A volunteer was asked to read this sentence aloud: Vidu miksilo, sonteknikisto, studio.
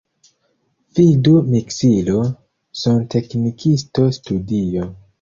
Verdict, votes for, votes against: accepted, 2, 1